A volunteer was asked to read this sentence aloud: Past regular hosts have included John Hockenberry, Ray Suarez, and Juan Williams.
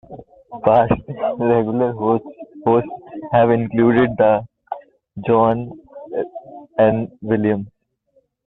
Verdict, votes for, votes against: rejected, 0, 2